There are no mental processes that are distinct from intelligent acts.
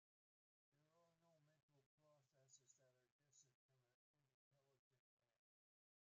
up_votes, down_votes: 0, 2